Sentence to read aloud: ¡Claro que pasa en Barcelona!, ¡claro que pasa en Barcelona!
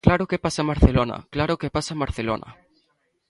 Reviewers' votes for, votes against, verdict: 2, 0, accepted